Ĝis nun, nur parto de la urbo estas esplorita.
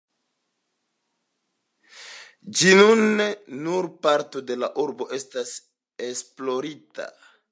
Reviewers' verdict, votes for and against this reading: rejected, 0, 2